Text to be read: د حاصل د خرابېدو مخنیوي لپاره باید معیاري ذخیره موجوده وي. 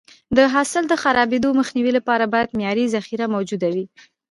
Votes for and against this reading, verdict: 2, 0, accepted